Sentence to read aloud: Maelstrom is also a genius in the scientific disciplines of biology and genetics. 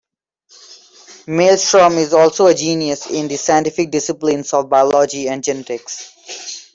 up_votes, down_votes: 1, 2